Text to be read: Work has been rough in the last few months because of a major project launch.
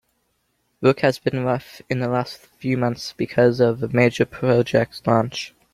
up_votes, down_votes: 2, 1